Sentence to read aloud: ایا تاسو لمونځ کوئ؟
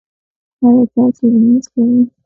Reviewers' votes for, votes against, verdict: 0, 2, rejected